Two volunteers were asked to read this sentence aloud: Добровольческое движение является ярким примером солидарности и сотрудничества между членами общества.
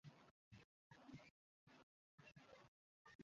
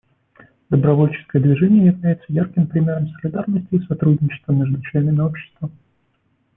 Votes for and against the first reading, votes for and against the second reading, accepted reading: 0, 2, 2, 1, second